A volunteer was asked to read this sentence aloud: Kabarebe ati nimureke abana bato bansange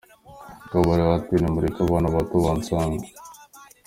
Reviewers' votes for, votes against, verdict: 2, 0, accepted